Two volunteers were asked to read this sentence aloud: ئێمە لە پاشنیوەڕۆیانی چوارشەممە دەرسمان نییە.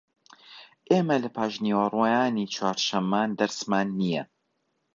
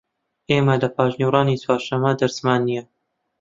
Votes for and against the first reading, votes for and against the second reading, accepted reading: 0, 2, 2, 0, second